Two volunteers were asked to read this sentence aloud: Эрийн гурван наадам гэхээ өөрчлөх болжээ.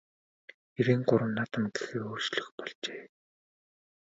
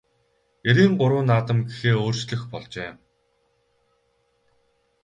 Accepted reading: second